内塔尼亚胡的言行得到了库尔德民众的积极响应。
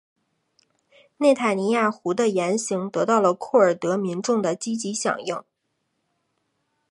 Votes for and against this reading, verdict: 5, 0, accepted